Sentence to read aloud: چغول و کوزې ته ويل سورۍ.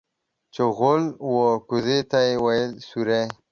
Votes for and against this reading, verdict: 2, 0, accepted